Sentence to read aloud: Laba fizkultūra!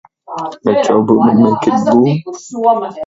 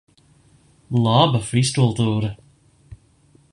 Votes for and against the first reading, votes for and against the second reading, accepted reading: 0, 2, 2, 0, second